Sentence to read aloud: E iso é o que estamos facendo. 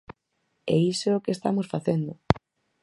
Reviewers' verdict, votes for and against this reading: accepted, 4, 0